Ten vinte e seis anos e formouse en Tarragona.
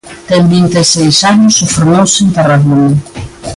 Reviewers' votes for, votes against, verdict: 2, 0, accepted